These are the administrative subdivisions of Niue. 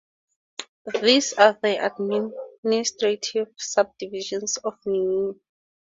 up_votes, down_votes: 0, 4